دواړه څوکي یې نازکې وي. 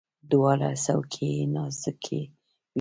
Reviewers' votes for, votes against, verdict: 0, 2, rejected